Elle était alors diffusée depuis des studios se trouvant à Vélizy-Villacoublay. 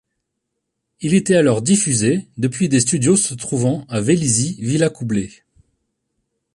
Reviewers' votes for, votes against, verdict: 1, 2, rejected